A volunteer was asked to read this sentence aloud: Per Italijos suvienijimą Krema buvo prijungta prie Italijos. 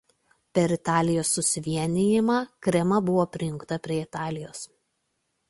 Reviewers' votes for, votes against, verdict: 2, 0, accepted